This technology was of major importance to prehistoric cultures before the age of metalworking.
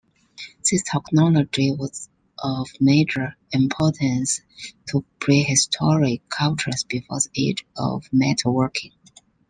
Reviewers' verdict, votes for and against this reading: rejected, 0, 2